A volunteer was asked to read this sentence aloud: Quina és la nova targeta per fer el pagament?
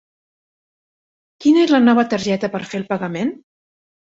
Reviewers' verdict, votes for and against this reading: accepted, 3, 0